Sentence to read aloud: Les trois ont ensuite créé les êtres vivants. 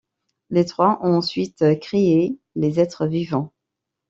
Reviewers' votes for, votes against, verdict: 2, 0, accepted